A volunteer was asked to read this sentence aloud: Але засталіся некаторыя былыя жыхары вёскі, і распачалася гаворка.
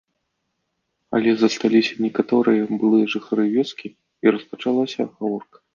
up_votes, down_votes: 3, 0